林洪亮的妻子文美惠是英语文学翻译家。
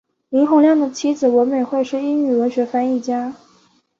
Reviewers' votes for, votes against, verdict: 4, 0, accepted